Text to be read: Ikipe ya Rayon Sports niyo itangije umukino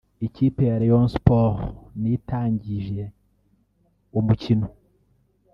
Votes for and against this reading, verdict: 1, 2, rejected